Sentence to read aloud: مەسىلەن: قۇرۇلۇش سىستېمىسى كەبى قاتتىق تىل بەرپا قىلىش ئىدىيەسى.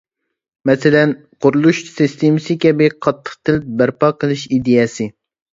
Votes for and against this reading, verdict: 3, 0, accepted